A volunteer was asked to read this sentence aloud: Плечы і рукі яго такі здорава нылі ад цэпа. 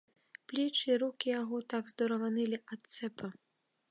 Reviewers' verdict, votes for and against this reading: rejected, 0, 2